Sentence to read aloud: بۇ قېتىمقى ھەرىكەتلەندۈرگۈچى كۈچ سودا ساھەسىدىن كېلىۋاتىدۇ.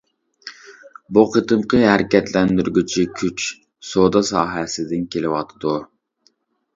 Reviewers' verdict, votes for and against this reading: accepted, 2, 0